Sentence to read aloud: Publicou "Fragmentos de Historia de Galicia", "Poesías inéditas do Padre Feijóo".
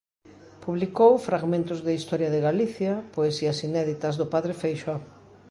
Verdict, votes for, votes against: rejected, 0, 2